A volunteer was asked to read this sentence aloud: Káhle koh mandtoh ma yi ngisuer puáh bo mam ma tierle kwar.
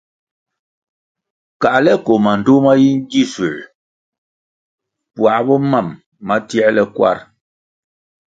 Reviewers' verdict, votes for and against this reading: accepted, 2, 0